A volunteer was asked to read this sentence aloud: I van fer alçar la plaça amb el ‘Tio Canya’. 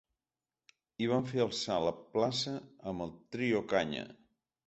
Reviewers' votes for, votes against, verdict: 0, 3, rejected